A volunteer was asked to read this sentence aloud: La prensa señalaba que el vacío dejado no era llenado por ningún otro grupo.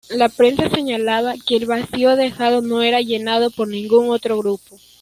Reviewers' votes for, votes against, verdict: 2, 1, accepted